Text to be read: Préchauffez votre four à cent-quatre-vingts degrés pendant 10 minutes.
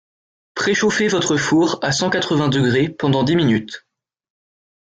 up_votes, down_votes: 0, 2